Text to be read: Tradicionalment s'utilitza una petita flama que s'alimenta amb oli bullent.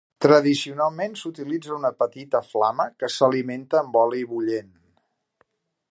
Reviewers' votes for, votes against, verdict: 4, 0, accepted